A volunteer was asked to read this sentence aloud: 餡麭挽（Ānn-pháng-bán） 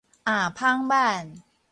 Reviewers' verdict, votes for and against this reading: rejected, 2, 2